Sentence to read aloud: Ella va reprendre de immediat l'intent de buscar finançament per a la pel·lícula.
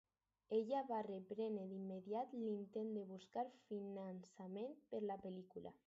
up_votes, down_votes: 0, 4